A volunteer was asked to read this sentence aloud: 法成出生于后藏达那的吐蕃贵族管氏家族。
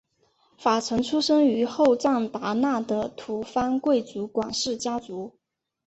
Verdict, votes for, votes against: accepted, 2, 1